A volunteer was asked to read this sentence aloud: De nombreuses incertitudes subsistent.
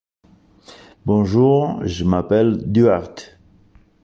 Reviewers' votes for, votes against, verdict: 1, 2, rejected